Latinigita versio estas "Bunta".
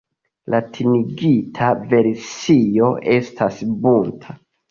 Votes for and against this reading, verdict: 2, 0, accepted